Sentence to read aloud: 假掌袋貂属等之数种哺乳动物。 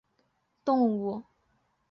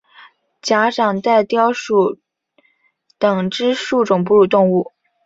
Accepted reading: second